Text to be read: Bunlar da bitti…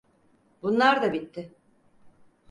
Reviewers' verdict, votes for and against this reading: accepted, 4, 0